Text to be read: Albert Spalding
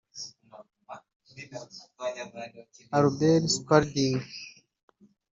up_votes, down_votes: 1, 2